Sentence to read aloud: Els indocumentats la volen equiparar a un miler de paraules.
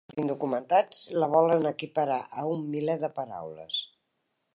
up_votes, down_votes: 0, 2